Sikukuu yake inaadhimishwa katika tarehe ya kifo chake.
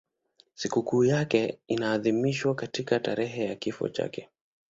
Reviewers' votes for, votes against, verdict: 12, 1, accepted